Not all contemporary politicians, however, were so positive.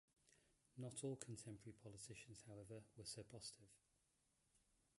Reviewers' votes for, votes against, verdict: 0, 2, rejected